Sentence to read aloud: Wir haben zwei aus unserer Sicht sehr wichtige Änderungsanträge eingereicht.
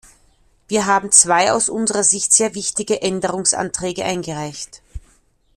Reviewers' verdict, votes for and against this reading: accepted, 2, 0